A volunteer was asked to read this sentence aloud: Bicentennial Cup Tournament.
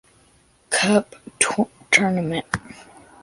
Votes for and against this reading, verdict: 0, 2, rejected